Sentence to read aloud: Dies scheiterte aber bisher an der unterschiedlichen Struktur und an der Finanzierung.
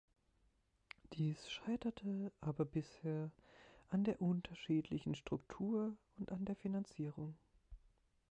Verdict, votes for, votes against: rejected, 1, 2